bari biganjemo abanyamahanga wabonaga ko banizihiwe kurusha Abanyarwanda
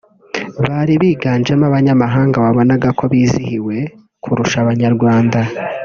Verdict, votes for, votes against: rejected, 1, 3